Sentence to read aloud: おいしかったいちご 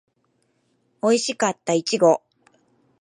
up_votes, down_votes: 3, 0